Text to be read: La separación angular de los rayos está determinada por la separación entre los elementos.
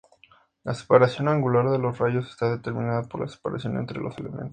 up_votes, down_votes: 4, 2